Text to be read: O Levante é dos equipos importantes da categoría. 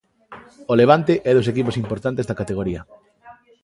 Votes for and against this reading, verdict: 2, 0, accepted